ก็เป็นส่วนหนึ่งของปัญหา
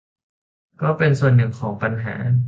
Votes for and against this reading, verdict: 2, 0, accepted